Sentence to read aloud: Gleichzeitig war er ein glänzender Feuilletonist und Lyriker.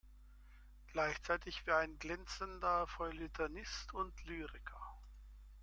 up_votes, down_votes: 0, 2